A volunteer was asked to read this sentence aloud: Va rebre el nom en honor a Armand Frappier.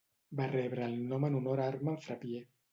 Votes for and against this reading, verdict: 1, 2, rejected